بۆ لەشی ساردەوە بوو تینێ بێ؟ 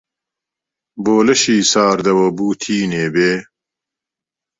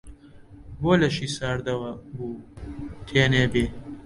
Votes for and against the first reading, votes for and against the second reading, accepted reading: 2, 0, 0, 2, first